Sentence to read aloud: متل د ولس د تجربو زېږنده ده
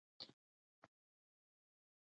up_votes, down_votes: 1, 2